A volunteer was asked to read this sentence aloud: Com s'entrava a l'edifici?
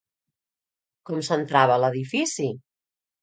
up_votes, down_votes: 2, 0